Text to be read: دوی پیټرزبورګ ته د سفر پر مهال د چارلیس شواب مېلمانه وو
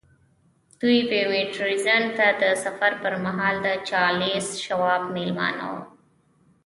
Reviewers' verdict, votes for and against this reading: rejected, 1, 2